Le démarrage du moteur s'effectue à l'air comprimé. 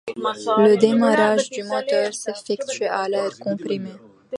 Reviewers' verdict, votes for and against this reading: accepted, 2, 1